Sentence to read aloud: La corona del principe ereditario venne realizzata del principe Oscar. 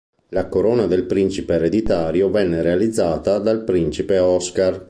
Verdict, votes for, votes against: rejected, 1, 2